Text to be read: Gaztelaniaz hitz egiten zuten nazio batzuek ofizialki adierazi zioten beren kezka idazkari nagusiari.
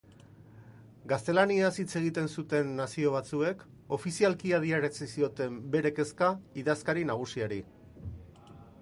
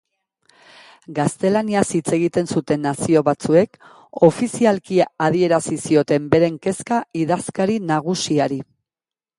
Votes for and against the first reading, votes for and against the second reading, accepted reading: 0, 2, 2, 1, second